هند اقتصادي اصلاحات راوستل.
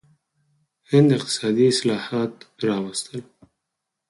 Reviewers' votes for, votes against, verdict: 0, 4, rejected